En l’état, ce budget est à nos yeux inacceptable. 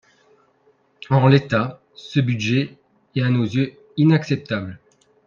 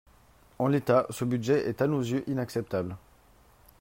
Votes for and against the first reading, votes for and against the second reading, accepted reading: 2, 3, 4, 0, second